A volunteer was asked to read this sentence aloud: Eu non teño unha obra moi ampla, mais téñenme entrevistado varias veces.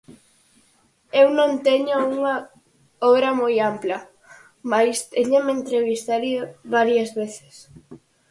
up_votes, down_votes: 0, 4